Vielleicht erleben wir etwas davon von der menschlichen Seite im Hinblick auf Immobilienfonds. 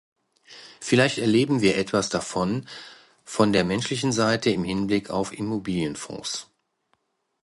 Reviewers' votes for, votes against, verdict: 2, 1, accepted